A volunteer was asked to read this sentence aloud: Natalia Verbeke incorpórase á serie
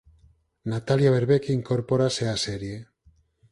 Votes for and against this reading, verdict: 4, 0, accepted